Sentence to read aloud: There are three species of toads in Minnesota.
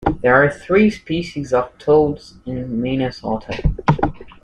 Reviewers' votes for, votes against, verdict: 2, 0, accepted